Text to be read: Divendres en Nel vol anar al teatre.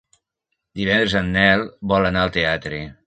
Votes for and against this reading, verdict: 1, 2, rejected